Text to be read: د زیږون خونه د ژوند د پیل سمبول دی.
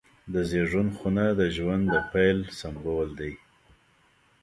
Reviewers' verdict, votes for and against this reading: accepted, 2, 0